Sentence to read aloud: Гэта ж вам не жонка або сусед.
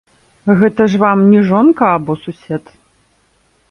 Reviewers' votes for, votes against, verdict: 0, 2, rejected